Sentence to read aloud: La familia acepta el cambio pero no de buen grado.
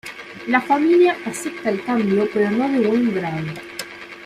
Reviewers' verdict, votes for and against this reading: accepted, 2, 1